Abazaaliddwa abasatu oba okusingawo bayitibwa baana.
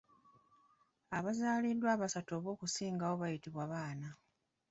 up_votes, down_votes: 2, 0